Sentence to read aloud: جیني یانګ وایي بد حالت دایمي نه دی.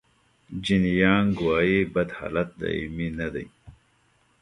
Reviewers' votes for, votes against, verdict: 0, 2, rejected